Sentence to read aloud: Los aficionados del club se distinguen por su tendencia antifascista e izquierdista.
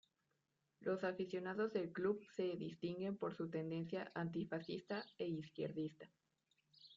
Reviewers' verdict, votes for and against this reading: accepted, 2, 1